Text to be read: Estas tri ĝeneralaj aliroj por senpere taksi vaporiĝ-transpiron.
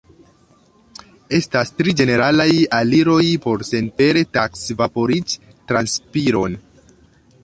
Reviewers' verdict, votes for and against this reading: accepted, 2, 0